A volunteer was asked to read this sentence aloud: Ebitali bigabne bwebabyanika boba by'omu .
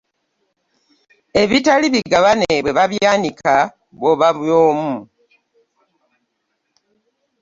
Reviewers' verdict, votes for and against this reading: rejected, 0, 2